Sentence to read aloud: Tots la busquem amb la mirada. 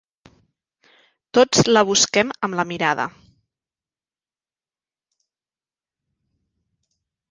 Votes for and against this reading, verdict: 3, 0, accepted